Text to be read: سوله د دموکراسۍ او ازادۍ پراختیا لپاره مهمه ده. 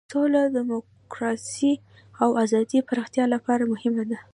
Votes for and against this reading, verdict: 2, 0, accepted